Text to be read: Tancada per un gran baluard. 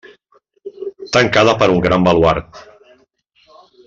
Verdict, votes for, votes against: accepted, 2, 1